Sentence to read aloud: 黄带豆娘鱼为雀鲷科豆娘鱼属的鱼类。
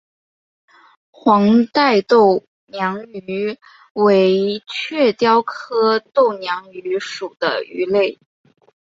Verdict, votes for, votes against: accepted, 2, 0